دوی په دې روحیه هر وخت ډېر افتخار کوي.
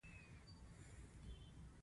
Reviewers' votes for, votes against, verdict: 1, 2, rejected